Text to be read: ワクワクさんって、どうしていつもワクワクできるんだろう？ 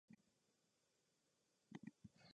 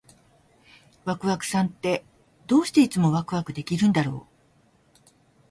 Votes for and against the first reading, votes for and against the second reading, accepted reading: 0, 2, 2, 0, second